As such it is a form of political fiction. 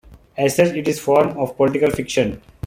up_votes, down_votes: 2, 1